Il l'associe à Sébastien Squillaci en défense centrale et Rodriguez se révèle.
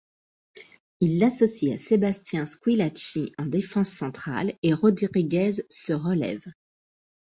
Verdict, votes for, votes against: rejected, 0, 2